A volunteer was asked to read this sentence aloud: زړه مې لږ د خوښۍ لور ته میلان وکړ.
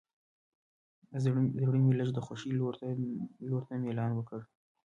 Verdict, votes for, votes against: rejected, 1, 2